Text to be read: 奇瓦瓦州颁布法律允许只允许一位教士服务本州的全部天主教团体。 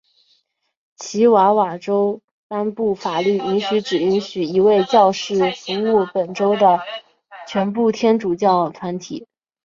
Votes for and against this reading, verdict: 2, 0, accepted